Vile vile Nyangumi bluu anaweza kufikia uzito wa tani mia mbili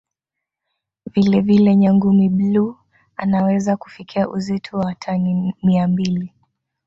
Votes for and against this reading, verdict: 3, 2, accepted